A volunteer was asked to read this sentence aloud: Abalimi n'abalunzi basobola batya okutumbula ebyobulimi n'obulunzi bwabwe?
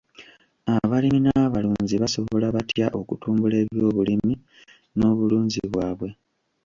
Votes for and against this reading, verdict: 1, 2, rejected